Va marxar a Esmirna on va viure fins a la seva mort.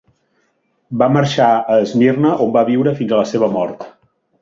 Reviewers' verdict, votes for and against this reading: accepted, 2, 0